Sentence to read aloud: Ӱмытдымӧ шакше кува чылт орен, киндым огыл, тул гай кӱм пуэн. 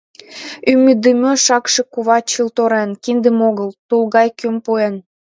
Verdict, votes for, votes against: accepted, 2, 1